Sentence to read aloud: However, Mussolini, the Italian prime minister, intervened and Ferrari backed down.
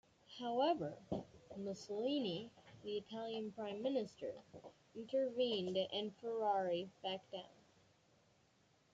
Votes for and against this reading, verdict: 1, 2, rejected